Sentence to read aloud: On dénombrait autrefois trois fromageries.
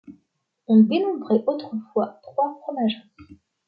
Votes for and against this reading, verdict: 2, 0, accepted